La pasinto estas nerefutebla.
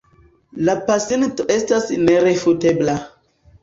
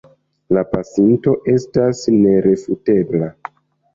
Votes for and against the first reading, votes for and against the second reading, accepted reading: 0, 2, 2, 0, second